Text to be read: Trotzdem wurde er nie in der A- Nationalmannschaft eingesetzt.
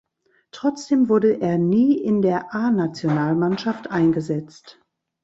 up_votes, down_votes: 2, 0